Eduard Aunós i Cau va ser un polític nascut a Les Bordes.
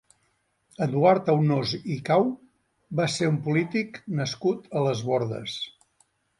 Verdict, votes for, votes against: accepted, 2, 0